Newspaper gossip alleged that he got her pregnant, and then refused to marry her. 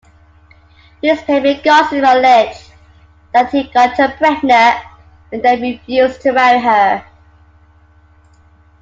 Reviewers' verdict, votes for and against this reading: accepted, 2, 0